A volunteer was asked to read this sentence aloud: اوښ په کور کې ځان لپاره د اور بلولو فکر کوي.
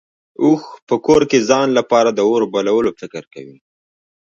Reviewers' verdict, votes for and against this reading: rejected, 1, 2